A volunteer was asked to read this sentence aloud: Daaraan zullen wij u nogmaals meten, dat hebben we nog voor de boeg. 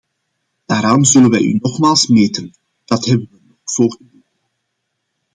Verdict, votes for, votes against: rejected, 0, 2